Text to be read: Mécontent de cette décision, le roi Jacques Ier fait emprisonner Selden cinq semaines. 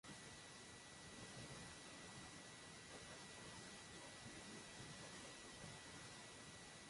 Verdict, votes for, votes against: rejected, 0, 2